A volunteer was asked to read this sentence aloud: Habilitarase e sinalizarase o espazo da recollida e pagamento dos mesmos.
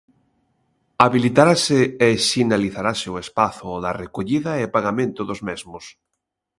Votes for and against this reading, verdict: 2, 0, accepted